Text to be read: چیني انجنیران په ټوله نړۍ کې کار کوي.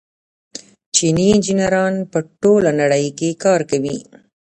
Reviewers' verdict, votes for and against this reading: rejected, 1, 2